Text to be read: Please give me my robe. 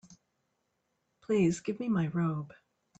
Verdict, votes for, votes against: accepted, 3, 0